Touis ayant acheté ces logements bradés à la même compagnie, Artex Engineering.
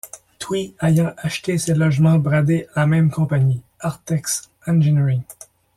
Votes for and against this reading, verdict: 1, 2, rejected